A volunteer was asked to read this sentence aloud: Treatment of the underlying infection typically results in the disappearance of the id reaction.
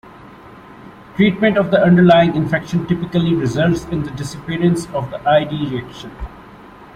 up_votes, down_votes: 2, 0